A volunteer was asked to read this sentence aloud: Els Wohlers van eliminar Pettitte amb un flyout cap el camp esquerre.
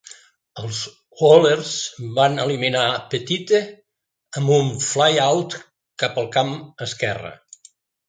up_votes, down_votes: 2, 0